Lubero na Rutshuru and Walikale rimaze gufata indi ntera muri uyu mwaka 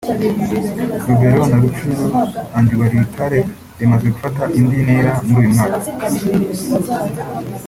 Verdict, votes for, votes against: rejected, 1, 2